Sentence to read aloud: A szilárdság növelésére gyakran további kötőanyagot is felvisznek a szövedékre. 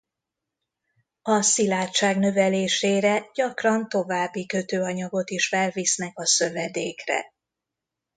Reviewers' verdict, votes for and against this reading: accepted, 2, 0